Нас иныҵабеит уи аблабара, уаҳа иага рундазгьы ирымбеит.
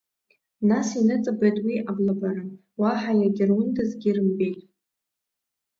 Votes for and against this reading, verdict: 2, 0, accepted